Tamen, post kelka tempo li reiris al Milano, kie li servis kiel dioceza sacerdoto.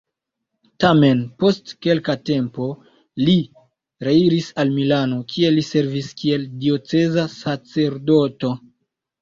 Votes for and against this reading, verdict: 2, 0, accepted